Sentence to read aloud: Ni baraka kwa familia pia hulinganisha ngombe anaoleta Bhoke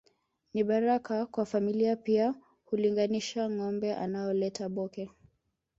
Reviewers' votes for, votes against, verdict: 2, 1, accepted